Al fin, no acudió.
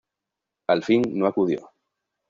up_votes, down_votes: 2, 0